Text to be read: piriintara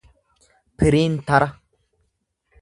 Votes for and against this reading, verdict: 2, 0, accepted